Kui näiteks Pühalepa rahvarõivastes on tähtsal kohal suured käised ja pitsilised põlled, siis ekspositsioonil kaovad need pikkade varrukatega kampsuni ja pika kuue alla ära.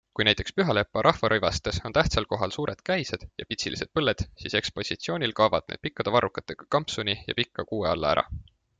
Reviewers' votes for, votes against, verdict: 2, 1, accepted